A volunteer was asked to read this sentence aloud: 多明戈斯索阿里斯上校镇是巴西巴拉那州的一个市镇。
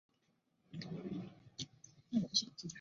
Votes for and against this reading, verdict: 0, 2, rejected